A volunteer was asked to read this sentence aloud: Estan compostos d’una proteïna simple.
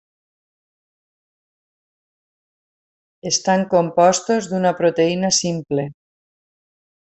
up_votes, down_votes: 3, 0